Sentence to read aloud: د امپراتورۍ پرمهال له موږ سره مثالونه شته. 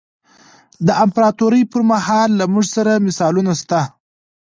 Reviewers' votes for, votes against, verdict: 1, 2, rejected